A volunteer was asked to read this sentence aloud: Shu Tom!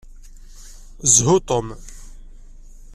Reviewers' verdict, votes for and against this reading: rejected, 1, 2